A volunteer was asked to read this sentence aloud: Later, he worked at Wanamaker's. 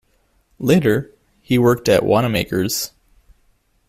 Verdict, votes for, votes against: rejected, 1, 2